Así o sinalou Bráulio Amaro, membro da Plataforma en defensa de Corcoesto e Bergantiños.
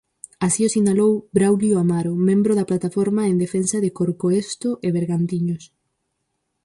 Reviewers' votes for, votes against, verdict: 4, 0, accepted